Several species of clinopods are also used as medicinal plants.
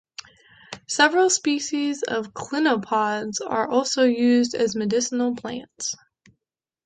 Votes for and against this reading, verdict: 2, 0, accepted